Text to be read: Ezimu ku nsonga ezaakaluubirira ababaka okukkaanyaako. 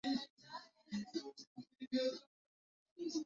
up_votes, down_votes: 0, 2